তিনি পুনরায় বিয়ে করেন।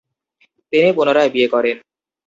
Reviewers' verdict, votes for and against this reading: rejected, 2, 2